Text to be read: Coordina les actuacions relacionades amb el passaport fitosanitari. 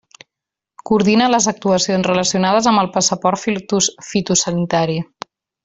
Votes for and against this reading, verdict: 0, 2, rejected